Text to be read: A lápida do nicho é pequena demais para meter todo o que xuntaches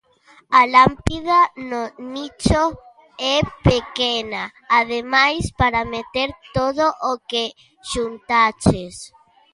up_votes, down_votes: 0, 2